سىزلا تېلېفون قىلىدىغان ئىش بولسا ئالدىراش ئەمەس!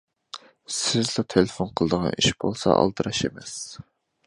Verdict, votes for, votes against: accepted, 2, 0